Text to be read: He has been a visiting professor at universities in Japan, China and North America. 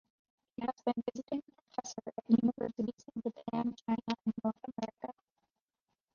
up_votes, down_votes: 0, 2